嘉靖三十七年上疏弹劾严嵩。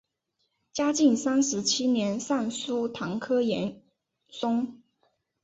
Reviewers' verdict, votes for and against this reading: accepted, 2, 0